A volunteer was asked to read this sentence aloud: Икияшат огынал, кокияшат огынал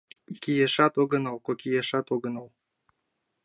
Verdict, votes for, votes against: accepted, 2, 1